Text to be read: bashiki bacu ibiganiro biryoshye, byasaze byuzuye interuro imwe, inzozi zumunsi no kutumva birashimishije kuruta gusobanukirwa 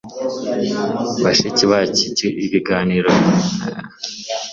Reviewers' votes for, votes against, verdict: 1, 2, rejected